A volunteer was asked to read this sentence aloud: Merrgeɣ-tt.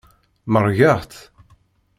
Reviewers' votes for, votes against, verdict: 1, 2, rejected